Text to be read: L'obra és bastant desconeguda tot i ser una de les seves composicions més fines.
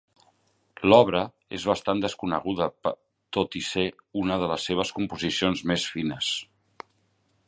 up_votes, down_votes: 1, 2